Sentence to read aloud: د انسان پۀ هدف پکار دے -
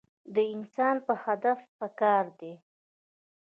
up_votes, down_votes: 2, 0